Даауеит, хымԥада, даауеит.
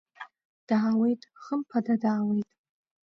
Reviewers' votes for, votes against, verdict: 1, 2, rejected